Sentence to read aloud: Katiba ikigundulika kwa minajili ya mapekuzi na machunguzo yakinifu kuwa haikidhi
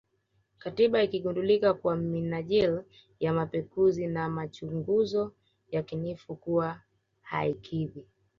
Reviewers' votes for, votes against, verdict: 2, 0, accepted